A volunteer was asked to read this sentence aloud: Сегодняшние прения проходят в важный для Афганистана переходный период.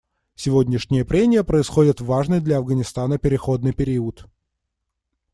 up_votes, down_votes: 1, 2